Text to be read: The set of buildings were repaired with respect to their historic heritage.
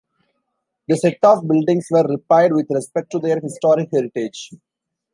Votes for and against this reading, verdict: 2, 1, accepted